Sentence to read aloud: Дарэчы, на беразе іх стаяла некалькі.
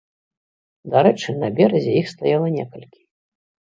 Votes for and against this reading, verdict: 2, 0, accepted